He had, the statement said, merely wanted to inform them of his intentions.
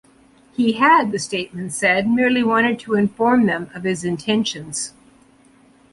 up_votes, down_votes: 2, 0